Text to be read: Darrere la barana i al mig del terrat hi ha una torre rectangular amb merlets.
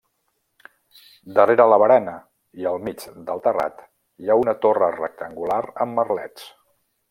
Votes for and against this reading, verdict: 2, 0, accepted